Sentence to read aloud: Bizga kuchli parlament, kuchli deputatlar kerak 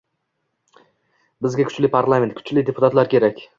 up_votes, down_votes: 2, 0